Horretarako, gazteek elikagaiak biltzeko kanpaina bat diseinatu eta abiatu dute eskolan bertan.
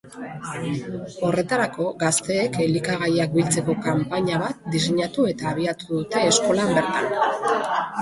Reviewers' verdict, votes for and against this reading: rejected, 1, 2